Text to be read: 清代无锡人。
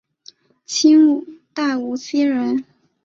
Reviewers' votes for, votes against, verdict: 3, 0, accepted